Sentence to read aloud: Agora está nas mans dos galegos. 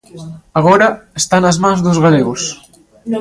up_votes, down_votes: 0, 2